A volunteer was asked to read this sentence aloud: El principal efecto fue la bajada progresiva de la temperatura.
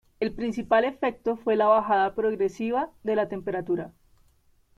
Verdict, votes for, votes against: rejected, 1, 2